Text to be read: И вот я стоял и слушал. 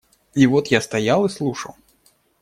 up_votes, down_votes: 2, 0